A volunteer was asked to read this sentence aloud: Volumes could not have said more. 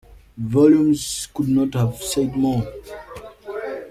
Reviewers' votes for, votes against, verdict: 2, 1, accepted